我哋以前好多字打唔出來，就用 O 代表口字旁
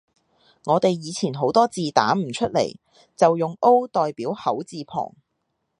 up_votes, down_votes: 2, 0